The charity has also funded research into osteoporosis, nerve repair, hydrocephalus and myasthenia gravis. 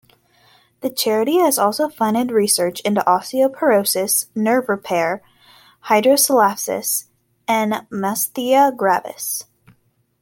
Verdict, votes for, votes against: accepted, 2, 0